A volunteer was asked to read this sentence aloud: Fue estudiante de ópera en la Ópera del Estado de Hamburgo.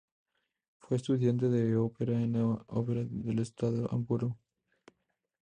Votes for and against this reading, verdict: 0, 2, rejected